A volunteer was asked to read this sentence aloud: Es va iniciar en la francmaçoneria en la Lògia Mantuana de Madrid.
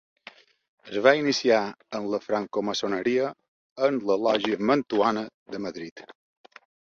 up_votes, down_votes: 3, 4